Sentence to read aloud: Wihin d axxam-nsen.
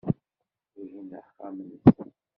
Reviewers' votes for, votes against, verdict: 0, 2, rejected